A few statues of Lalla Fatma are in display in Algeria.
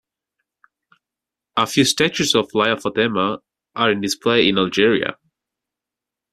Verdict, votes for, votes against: accepted, 2, 0